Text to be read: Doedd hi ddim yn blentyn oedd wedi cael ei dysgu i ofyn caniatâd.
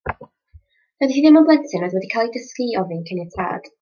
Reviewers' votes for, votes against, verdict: 2, 0, accepted